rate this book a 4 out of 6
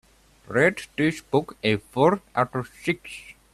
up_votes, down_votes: 0, 2